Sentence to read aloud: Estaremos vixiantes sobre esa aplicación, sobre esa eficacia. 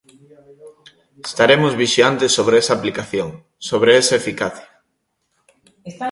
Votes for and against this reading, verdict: 0, 2, rejected